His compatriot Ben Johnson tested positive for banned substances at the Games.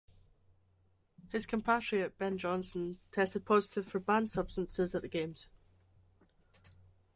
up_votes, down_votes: 2, 0